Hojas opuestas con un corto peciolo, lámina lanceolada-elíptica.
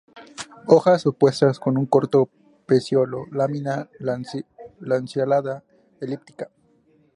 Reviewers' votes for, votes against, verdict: 2, 0, accepted